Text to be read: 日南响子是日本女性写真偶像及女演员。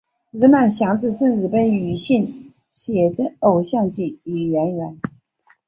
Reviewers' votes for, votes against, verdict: 2, 0, accepted